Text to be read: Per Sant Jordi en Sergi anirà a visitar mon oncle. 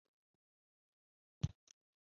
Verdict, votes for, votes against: rejected, 1, 2